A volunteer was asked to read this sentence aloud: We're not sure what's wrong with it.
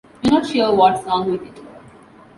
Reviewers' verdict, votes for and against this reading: accepted, 2, 0